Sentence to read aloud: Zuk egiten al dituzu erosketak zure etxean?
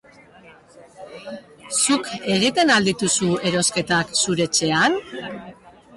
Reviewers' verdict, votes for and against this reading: rejected, 0, 2